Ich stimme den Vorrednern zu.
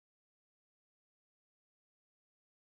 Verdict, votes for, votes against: rejected, 0, 2